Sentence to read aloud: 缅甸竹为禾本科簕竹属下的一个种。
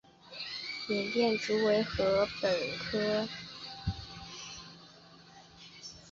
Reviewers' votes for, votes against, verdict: 0, 5, rejected